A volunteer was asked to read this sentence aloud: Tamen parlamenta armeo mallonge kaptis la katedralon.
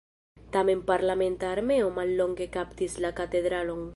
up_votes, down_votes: 2, 0